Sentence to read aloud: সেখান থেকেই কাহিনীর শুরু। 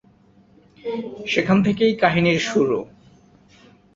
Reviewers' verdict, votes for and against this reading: accepted, 4, 0